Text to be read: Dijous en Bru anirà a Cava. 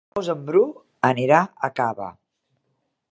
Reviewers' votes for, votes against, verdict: 0, 4, rejected